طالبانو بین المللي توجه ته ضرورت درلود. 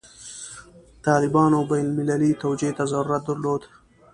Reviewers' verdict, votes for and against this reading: rejected, 1, 2